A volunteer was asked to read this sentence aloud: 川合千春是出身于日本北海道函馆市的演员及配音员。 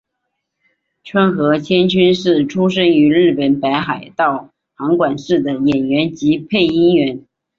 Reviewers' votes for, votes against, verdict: 6, 0, accepted